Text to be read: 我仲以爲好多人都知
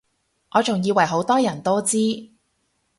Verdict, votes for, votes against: rejected, 0, 2